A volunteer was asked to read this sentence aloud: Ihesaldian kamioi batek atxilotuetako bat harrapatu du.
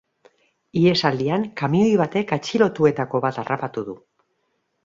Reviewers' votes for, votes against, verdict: 2, 0, accepted